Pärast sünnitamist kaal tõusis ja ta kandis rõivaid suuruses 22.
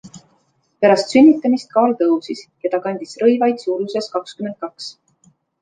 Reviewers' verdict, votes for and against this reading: rejected, 0, 2